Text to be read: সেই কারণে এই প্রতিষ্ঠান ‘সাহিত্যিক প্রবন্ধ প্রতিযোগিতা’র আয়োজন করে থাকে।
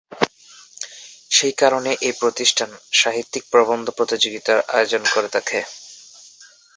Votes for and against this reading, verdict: 2, 1, accepted